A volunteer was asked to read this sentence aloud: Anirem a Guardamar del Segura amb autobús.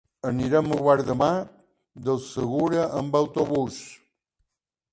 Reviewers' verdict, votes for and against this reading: accepted, 2, 1